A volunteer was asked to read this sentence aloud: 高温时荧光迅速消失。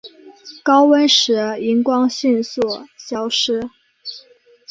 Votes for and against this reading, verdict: 2, 1, accepted